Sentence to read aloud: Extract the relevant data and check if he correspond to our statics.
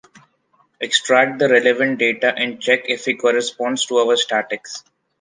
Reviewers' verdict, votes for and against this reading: accepted, 2, 0